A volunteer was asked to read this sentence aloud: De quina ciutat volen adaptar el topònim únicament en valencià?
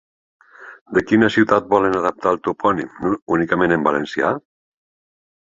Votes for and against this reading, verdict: 3, 1, accepted